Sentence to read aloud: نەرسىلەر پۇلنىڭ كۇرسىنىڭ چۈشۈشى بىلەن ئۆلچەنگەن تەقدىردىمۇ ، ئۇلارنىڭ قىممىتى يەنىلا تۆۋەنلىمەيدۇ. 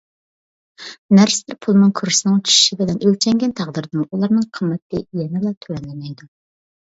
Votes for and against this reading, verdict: 0, 2, rejected